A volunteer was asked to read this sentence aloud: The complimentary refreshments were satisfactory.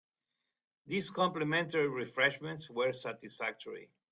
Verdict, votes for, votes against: rejected, 0, 2